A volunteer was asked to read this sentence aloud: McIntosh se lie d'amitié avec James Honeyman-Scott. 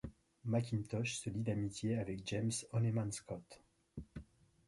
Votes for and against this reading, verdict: 0, 2, rejected